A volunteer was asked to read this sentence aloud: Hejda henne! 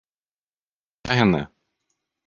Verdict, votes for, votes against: rejected, 0, 4